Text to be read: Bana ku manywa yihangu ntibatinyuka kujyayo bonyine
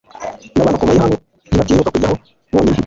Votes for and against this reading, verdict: 1, 2, rejected